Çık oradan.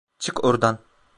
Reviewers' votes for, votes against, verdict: 0, 2, rejected